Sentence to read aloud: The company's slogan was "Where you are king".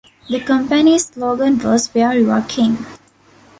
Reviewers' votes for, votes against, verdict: 1, 2, rejected